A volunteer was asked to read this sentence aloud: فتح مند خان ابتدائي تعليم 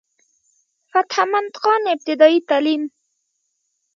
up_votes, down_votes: 1, 2